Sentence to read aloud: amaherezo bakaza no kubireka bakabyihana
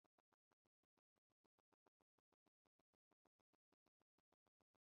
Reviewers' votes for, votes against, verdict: 0, 2, rejected